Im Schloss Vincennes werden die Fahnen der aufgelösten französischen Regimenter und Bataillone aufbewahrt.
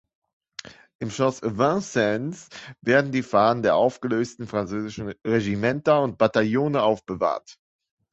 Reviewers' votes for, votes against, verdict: 0, 2, rejected